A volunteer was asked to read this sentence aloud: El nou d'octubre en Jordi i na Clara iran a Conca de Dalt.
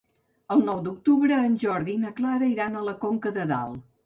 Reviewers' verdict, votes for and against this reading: rejected, 1, 2